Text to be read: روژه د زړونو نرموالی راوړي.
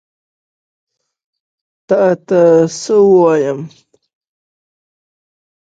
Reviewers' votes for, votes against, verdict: 0, 2, rejected